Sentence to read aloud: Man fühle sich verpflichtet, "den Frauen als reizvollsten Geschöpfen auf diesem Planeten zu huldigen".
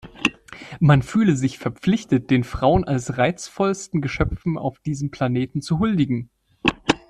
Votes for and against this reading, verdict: 2, 0, accepted